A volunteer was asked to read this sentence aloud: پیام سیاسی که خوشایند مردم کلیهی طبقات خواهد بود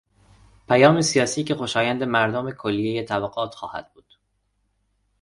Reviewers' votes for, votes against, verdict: 2, 0, accepted